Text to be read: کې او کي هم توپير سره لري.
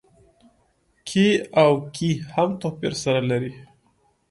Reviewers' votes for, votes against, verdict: 2, 0, accepted